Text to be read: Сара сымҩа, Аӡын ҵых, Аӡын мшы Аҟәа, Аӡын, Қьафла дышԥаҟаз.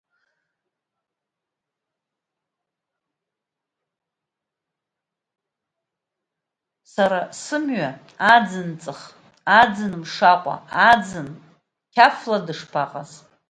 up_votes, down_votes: 0, 2